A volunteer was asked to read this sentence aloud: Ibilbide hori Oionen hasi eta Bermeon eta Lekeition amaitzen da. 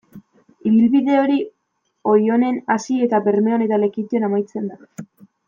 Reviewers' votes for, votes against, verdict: 2, 0, accepted